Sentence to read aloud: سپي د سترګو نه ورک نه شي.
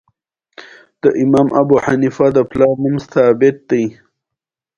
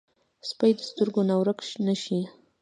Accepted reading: first